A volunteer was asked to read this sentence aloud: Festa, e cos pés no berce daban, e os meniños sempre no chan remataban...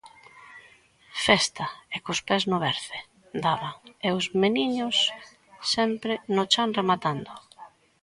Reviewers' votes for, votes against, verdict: 1, 2, rejected